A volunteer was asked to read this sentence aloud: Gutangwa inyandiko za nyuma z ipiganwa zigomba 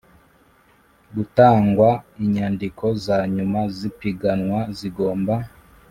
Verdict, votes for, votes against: accepted, 4, 0